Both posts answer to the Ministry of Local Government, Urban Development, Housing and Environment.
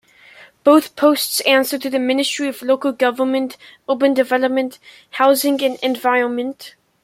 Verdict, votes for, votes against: accepted, 2, 0